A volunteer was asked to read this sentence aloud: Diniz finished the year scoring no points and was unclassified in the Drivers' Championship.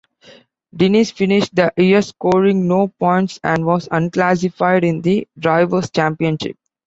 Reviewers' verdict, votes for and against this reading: accepted, 2, 0